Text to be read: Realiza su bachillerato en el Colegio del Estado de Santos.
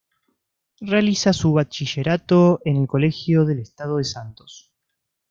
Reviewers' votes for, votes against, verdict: 2, 0, accepted